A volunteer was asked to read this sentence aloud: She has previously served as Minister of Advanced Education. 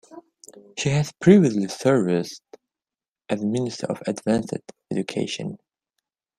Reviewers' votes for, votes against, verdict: 0, 2, rejected